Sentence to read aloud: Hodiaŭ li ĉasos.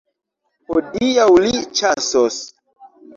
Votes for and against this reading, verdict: 1, 2, rejected